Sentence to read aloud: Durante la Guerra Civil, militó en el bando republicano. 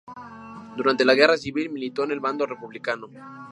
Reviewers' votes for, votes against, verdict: 2, 0, accepted